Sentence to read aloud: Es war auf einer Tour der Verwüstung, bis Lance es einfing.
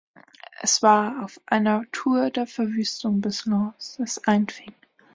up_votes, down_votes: 1, 2